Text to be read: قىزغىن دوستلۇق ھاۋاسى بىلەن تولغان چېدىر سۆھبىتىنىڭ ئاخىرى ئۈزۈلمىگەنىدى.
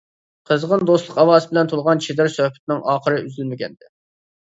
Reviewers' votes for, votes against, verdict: 0, 2, rejected